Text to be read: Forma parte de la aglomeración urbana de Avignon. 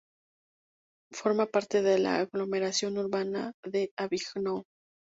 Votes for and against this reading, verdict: 2, 4, rejected